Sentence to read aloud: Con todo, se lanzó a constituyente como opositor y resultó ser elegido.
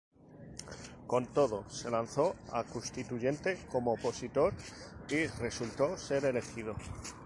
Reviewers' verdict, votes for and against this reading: rejected, 0, 2